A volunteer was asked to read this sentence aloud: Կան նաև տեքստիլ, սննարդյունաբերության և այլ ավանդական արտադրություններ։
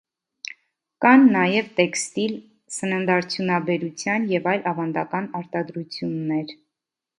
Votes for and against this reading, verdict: 2, 0, accepted